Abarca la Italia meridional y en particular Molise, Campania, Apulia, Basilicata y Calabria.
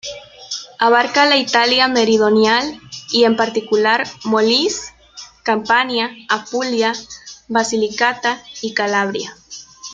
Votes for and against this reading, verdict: 1, 2, rejected